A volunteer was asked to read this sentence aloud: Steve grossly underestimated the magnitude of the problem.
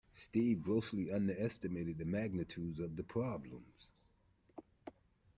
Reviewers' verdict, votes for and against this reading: rejected, 1, 2